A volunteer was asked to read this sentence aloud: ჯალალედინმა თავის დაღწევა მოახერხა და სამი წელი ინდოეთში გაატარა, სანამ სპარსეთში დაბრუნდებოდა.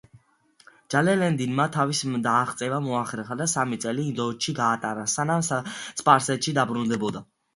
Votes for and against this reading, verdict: 2, 1, accepted